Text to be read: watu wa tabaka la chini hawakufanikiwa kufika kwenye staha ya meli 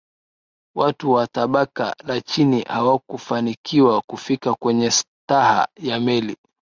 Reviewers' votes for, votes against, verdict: 2, 1, accepted